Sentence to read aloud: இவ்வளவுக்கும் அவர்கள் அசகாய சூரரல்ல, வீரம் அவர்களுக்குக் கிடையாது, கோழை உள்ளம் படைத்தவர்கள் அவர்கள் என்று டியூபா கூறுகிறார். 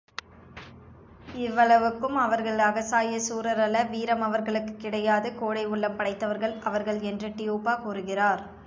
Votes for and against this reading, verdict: 2, 1, accepted